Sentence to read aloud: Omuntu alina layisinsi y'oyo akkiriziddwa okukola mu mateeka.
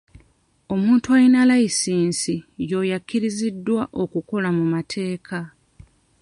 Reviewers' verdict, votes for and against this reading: accepted, 2, 0